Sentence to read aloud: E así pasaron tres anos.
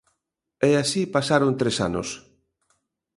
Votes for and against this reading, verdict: 2, 0, accepted